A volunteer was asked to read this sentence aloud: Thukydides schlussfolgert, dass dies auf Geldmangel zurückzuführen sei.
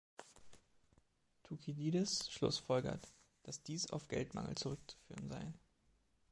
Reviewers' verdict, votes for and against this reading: accepted, 2, 0